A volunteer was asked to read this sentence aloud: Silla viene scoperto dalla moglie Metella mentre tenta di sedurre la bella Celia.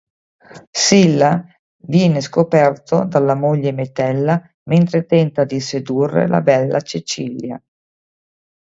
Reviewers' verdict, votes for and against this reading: rejected, 1, 2